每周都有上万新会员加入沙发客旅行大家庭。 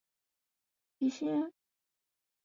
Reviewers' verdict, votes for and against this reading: rejected, 0, 3